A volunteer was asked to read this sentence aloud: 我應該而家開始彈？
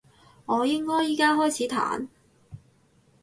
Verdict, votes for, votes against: rejected, 4, 6